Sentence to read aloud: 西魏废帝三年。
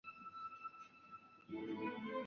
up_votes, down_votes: 5, 3